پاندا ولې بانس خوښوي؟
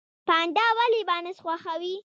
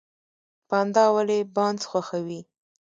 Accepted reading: first